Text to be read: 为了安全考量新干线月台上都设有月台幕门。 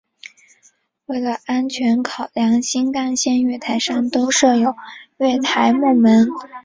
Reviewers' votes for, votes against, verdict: 1, 2, rejected